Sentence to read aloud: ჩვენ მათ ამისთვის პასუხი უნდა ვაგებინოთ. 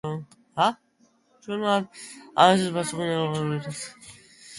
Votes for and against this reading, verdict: 0, 2, rejected